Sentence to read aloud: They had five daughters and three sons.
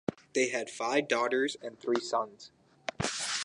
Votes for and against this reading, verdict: 4, 2, accepted